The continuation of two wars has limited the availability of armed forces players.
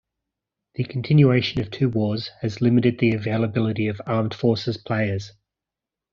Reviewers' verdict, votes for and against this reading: accepted, 2, 0